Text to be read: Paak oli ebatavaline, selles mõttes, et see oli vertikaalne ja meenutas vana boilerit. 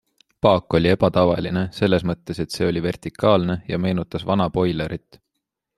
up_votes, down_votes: 3, 0